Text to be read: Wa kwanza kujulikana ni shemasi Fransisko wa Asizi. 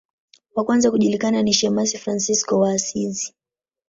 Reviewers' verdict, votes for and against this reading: accepted, 3, 0